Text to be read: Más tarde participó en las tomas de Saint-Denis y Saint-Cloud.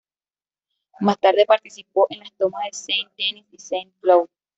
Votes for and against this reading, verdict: 1, 2, rejected